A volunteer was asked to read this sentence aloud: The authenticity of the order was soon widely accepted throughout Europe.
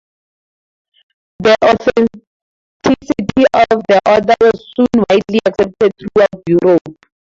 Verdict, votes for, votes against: rejected, 0, 2